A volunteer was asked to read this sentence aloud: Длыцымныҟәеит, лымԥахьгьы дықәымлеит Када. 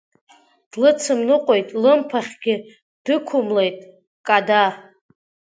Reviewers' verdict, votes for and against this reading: accepted, 2, 0